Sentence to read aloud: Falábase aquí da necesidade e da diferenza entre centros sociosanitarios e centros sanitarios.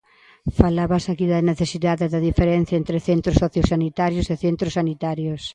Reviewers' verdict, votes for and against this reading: rejected, 0, 2